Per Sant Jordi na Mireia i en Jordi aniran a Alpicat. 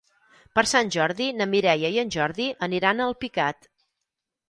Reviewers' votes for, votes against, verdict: 4, 0, accepted